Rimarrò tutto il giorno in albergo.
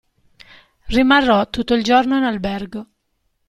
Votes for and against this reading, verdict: 2, 0, accepted